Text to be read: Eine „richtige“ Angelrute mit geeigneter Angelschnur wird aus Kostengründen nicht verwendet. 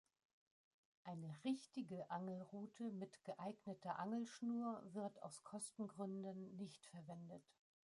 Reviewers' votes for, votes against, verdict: 2, 1, accepted